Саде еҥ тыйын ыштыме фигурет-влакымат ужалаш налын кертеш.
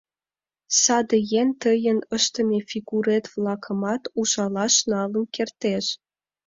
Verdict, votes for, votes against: accepted, 2, 0